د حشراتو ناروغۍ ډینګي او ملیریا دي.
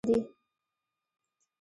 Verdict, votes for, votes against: rejected, 0, 2